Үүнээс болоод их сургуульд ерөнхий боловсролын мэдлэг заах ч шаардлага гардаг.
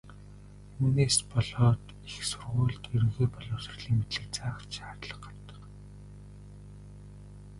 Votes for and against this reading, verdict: 1, 2, rejected